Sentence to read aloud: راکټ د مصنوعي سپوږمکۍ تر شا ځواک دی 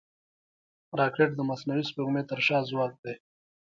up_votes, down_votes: 1, 2